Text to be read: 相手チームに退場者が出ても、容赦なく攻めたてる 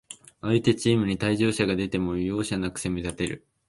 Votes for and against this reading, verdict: 3, 0, accepted